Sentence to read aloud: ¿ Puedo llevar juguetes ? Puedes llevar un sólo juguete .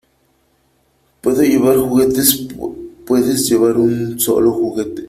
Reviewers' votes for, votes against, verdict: 3, 1, accepted